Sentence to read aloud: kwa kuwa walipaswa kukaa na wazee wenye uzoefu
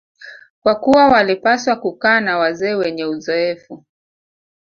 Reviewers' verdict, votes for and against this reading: rejected, 0, 2